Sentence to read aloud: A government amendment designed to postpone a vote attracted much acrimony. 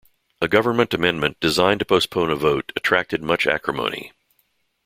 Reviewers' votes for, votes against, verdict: 2, 0, accepted